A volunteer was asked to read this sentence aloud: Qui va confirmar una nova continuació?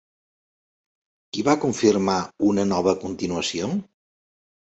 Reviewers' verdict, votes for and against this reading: accepted, 4, 0